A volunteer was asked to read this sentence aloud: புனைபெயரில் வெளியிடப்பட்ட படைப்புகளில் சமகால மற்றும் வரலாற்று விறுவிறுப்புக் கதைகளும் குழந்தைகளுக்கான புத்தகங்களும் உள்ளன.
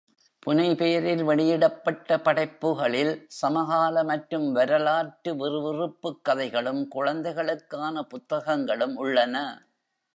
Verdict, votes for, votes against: accepted, 2, 0